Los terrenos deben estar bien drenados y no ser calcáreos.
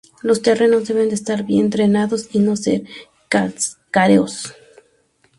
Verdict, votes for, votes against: rejected, 0, 4